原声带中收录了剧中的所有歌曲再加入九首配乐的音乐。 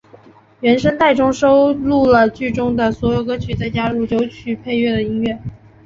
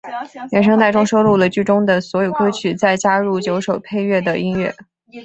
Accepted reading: second